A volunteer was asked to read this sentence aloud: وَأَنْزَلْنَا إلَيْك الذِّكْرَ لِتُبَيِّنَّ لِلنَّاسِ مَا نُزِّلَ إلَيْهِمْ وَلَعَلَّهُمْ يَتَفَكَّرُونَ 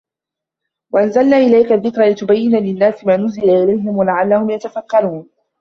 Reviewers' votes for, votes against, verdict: 0, 2, rejected